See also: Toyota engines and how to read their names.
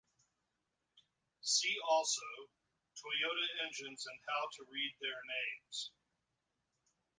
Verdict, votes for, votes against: accepted, 2, 0